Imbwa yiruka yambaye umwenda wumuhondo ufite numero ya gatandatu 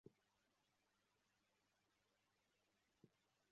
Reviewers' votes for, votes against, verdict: 0, 2, rejected